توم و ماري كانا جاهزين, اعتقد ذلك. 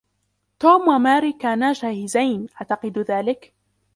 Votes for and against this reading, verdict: 1, 2, rejected